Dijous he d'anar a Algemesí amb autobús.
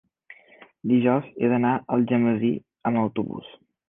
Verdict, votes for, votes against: accepted, 5, 1